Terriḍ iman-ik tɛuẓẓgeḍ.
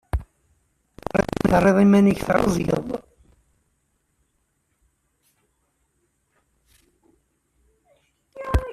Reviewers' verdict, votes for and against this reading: rejected, 0, 2